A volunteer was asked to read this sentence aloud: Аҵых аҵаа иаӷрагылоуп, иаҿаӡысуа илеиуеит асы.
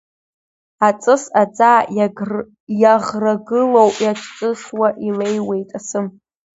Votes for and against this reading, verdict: 0, 2, rejected